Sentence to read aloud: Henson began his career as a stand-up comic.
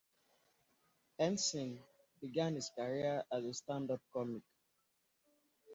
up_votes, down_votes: 2, 0